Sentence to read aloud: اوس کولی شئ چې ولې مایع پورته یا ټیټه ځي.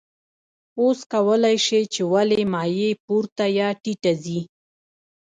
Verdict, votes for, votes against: accepted, 2, 0